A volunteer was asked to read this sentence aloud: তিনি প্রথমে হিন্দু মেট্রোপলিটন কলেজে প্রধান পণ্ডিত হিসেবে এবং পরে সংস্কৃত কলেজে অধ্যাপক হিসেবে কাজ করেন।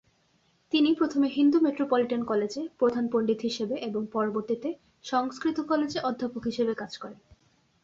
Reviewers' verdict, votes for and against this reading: rejected, 1, 2